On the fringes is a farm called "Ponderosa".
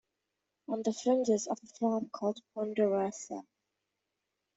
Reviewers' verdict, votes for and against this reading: accepted, 2, 0